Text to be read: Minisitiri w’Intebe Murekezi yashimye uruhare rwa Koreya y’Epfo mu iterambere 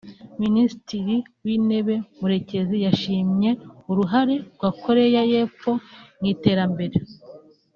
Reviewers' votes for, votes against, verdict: 2, 1, accepted